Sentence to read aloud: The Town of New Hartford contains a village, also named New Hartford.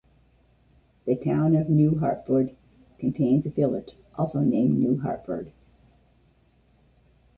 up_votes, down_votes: 2, 0